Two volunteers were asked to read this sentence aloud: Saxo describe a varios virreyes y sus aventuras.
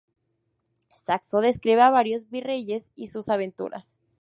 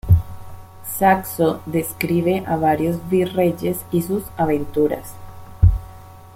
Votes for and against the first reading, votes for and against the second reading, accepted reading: 2, 0, 1, 2, first